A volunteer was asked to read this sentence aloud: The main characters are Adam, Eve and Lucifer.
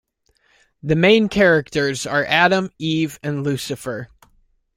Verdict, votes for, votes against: accepted, 2, 0